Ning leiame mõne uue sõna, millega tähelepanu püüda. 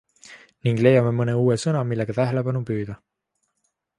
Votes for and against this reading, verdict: 2, 0, accepted